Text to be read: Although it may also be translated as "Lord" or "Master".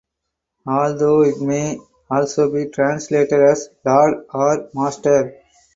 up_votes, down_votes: 4, 0